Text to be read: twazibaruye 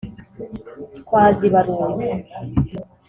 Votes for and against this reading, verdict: 2, 0, accepted